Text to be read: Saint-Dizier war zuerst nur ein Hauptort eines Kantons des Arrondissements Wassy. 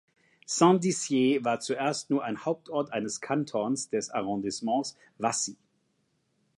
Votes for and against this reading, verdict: 2, 0, accepted